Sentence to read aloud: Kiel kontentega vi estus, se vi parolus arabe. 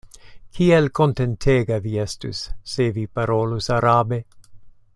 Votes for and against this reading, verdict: 2, 0, accepted